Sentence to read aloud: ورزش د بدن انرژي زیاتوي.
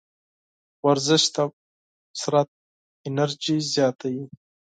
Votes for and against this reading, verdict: 2, 4, rejected